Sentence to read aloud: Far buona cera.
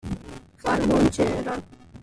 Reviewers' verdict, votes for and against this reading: rejected, 1, 2